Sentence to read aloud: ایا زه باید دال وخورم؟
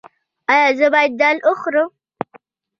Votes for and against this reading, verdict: 2, 0, accepted